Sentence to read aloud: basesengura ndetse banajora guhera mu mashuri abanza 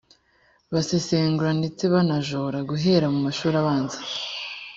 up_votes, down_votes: 2, 0